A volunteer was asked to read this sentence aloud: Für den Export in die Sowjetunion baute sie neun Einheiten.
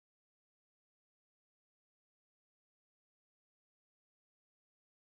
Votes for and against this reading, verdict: 0, 2, rejected